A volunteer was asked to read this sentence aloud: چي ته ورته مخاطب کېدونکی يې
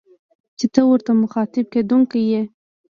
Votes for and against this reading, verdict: 2, 1, accepted